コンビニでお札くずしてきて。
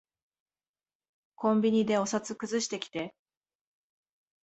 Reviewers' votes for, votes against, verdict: 2, 0, accepted